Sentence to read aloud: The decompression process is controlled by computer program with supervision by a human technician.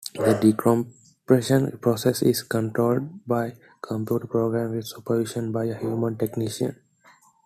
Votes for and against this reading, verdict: 2, 1, accepted